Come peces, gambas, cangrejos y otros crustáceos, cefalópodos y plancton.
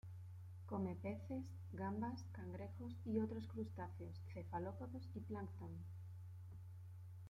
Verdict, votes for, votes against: rejected, 1, 2